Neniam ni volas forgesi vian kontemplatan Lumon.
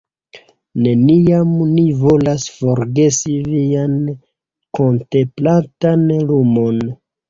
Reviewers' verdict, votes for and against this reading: rejected, 1, 2